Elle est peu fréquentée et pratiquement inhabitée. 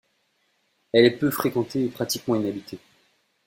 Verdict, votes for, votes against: accepted, 2, 0